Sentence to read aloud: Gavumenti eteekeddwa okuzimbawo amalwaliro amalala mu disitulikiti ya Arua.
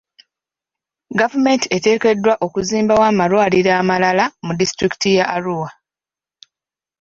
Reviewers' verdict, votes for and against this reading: accepted, 2, 1